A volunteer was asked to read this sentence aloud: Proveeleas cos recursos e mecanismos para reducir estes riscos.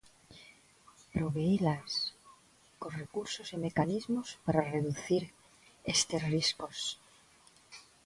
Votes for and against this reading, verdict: 1, 2, rejected